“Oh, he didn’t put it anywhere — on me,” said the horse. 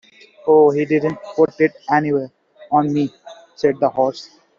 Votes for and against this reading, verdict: 1, 2, rejected